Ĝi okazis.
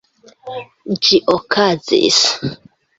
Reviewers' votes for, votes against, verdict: 1, 2, rejected